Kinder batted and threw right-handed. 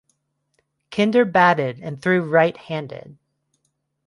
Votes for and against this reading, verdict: 2, 0, accepted